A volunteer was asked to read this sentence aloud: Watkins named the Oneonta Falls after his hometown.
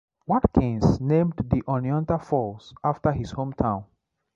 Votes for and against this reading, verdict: 2, 0, accepted